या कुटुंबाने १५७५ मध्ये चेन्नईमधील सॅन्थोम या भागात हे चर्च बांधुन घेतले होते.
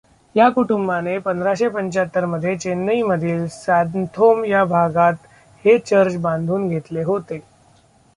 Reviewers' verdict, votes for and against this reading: rejected, 0, 2